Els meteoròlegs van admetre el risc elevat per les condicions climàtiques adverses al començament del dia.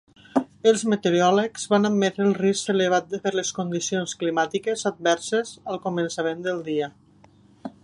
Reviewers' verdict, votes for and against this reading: accepted, 2, 0